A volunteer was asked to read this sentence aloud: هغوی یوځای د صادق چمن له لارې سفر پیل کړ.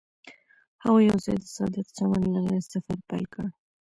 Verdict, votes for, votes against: rejected, 0, 2